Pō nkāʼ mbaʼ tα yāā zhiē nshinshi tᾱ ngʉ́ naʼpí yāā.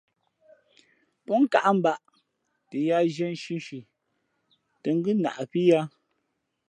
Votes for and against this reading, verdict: 2, 0, accepted